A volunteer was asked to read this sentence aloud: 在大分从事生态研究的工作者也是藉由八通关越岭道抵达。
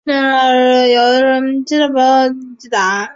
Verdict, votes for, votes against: rejected, 1, 2